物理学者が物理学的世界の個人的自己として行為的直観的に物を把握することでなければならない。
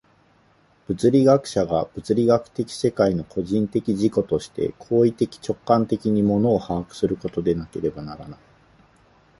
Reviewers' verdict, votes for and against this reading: accepted, 4, 0